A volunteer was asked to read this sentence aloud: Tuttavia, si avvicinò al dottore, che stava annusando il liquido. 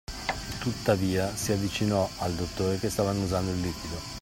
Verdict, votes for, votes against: accepted, 2, 0